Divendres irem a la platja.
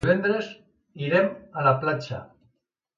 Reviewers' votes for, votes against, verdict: 1, 2, rejected